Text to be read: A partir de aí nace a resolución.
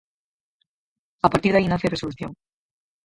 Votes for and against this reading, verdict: 0, 4, rejected